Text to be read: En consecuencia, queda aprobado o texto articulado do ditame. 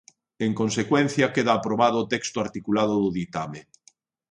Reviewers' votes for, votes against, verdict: 2, 0, accepted